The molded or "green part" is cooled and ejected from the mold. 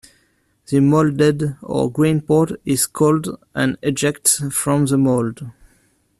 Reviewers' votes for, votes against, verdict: 1, 2, rejected